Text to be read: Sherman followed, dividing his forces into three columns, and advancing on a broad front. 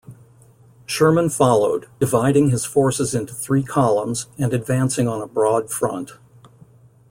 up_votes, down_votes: 2, 0